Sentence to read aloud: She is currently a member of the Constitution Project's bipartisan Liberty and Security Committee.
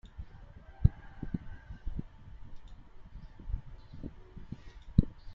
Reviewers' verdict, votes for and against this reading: rejected, 0, 2